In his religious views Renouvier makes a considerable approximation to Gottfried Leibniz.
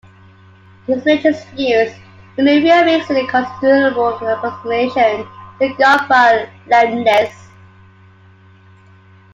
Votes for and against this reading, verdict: 1, 2, rejected